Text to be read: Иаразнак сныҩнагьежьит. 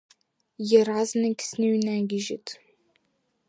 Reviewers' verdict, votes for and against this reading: accepted, 2, 0